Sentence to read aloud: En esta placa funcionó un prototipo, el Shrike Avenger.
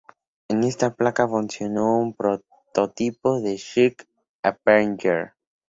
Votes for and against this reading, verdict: 0, 2, rejected